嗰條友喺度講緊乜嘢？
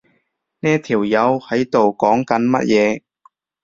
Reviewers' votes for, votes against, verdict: 0, 2, rejected